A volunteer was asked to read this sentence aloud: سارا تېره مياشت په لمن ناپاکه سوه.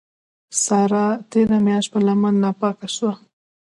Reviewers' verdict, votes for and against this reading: rejected, 0, 2